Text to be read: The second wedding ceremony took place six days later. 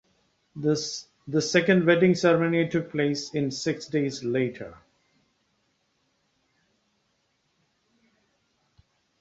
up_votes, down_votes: 1, 2